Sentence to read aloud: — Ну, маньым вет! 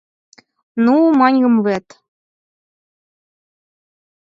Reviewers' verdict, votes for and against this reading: accepted, 4, 0